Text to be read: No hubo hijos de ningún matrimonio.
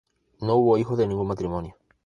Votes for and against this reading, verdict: 2, 0, accepted